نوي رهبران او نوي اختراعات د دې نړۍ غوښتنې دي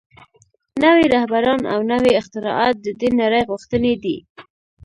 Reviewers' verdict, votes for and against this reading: rejected, 0, 2